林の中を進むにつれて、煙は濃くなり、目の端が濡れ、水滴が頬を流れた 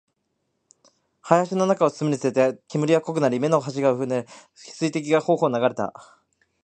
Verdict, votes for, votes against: accepted, 2, 1